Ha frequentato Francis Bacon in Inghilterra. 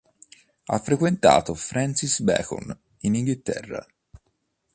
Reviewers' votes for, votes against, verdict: 2, 0, accepted